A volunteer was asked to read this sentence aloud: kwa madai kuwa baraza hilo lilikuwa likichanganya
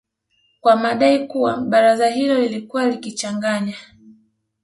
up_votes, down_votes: 3, 0